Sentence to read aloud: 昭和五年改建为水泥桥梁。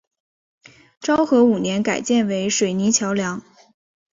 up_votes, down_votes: 2, 0